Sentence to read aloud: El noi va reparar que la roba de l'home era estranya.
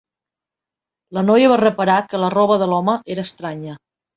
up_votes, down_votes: 0, 2